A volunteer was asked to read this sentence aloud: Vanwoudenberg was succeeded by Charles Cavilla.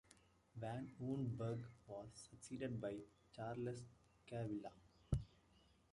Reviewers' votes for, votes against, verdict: 1, 2, rejected